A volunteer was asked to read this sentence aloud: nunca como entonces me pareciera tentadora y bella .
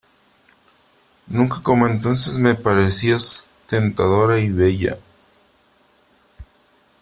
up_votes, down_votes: 0, 3